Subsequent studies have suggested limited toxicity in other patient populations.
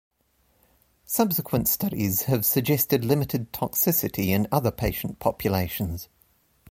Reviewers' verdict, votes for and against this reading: accepted, 4, 0